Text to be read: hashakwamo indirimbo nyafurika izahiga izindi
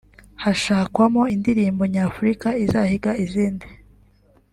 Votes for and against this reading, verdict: 2, 0, accepted